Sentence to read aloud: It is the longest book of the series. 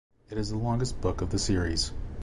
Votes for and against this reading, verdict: 2, 0, accepted